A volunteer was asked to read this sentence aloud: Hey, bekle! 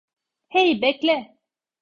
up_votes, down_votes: 2, 0